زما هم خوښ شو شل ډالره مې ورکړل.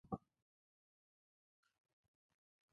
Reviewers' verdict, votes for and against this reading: rejected, 0, 2